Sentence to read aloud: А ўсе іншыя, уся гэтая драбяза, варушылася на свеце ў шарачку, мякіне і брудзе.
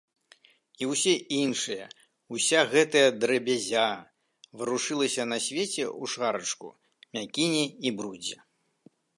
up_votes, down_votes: 1, 2